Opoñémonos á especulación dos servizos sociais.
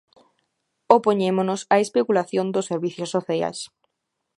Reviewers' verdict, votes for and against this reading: rejected, 1, 2